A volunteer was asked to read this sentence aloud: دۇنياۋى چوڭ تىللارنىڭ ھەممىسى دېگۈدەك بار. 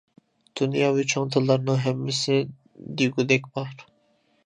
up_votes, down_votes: 2, 0